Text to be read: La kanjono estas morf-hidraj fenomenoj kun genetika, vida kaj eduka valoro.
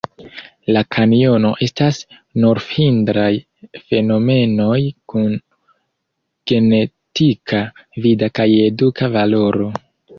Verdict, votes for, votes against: rejected, 0, 3